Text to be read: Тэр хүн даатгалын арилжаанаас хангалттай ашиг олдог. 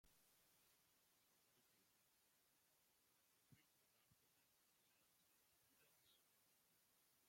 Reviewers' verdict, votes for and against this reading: rejected, 0, 2